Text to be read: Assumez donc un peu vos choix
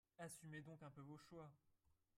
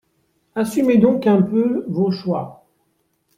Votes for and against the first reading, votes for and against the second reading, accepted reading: 1, 3, 3, 1, second